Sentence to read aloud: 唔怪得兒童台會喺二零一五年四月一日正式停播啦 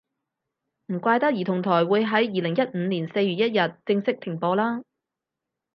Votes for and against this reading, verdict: 6, 0, accepted